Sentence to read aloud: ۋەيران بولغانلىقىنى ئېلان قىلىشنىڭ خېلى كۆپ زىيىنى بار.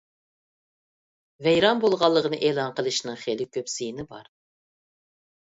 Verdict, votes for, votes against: accepted, 2, 0